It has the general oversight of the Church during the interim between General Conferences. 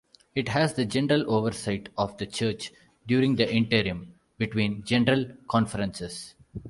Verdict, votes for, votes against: accepted, 2, 0